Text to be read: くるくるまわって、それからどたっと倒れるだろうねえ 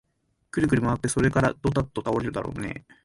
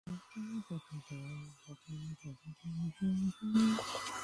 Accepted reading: first